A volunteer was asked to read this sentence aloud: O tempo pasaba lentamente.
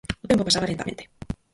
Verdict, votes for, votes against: rejected, 2, 4